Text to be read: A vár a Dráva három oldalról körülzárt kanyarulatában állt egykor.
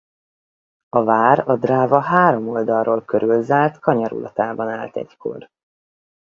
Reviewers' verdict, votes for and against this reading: accepted, 4, 0